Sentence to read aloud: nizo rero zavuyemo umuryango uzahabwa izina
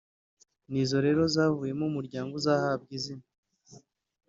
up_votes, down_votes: 0, 2